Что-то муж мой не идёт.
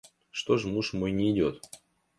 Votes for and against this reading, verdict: 0, 2, rejected